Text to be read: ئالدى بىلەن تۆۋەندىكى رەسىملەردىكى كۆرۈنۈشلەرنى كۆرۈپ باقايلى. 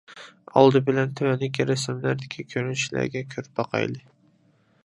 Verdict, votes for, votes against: rejected, 0, 2